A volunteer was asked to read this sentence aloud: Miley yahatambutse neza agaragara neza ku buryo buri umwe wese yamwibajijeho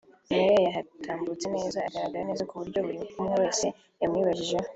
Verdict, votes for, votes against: accepted, 3, 0